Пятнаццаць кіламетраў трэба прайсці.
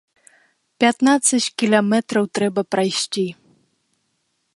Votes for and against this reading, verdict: 0, 2, rejected